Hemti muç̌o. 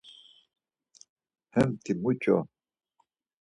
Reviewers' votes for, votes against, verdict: 4, 0, accepted